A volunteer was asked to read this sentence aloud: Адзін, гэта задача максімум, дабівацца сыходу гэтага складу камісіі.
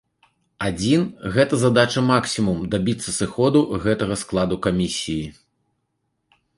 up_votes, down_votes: 0, 2